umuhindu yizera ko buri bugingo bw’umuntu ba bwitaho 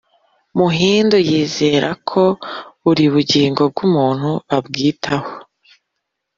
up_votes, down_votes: 4, 1